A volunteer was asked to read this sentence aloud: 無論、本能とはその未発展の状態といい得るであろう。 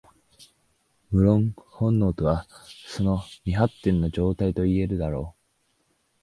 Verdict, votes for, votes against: rejected, 1, 2